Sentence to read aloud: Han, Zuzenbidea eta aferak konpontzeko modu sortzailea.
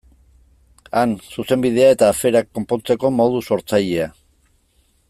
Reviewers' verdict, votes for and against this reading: accepted, 2, 0